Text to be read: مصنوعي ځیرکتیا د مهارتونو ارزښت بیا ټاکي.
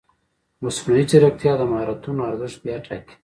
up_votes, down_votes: 1, 2